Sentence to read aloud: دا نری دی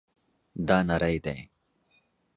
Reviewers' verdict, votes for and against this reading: accepted, 2, 0